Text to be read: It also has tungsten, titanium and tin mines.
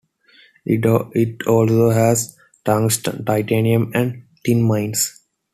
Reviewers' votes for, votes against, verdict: 2, 1, accepted